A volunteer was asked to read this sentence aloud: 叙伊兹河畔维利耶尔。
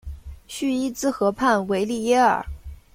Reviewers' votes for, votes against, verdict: 2, 0, accepted